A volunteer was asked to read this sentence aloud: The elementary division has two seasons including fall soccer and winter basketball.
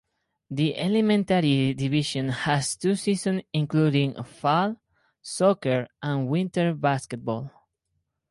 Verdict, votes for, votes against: rejected, 2, 2